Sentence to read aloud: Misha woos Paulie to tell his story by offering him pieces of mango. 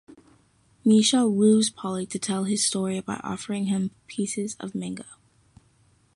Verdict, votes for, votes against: accepted, 3, 0